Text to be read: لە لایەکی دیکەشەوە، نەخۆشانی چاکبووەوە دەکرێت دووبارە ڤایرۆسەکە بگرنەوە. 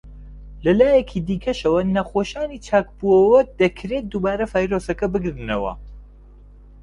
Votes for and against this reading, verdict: 2, 0, accepted